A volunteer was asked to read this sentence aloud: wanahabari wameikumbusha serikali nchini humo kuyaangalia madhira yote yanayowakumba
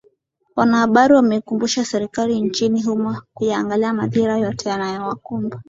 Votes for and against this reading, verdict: 4, 2, accepted